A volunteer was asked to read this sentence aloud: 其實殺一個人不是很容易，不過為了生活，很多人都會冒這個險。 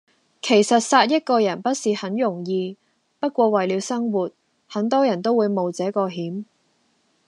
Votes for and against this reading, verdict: 2, 0, accepted